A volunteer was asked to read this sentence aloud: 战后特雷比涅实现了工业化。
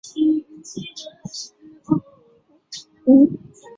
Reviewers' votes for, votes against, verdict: 0, 3, rejected